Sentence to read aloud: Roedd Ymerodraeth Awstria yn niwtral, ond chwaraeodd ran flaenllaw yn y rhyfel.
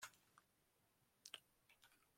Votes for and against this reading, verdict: 0, 2, rejected